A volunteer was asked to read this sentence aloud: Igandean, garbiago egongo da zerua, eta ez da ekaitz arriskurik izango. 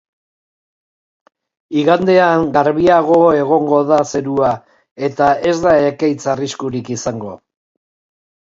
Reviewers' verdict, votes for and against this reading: accepted, 2, 0